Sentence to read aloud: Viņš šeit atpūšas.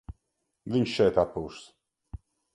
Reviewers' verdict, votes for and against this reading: accepted, 2, 0